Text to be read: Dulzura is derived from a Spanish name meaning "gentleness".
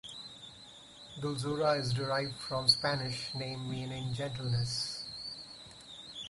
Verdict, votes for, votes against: rejected, 2, 2